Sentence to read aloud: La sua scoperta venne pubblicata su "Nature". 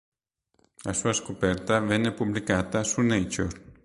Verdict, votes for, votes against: accepted, 3, 0